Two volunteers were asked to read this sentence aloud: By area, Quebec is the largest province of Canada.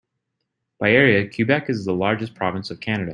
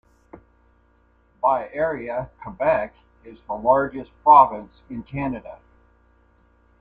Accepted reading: first